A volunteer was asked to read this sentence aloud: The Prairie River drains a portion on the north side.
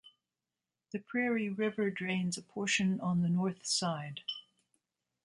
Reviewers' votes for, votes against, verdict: 2, 0, accepted